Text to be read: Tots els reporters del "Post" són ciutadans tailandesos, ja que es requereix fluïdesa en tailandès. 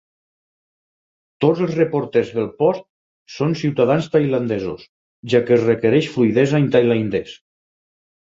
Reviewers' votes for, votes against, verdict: 2, 4, rejected